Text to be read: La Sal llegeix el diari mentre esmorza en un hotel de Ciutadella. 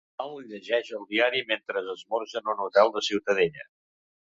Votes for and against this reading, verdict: 1, 2, rejected